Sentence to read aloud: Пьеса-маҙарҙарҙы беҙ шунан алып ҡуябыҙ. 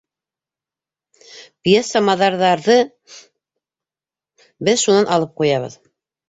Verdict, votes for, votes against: rejected, 0, 2